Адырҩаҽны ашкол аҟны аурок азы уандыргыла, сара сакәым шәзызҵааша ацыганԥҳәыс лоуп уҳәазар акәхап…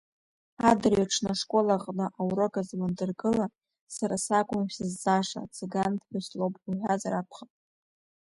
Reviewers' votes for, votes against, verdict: 2, 1, accepted